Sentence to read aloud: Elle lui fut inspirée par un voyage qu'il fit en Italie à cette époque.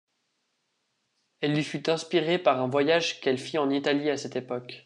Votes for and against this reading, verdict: 0, 3, rejected